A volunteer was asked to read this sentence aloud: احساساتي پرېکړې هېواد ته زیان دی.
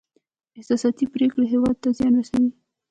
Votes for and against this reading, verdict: 1, 2, rejected